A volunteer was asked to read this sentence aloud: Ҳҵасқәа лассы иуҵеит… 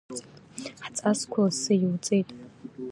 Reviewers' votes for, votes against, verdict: 2, 0, accepted